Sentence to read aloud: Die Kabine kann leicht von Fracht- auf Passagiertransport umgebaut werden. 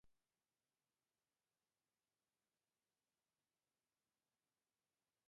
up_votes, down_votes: 0, 2